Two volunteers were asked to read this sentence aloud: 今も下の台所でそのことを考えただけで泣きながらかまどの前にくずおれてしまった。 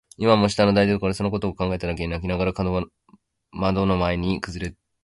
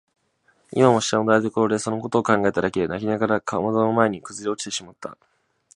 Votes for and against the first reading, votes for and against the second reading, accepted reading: 0, 2, 2, 1, second